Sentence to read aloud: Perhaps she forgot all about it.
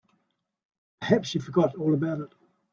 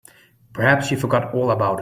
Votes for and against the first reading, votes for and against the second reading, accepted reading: 2, 0, 1, 2, first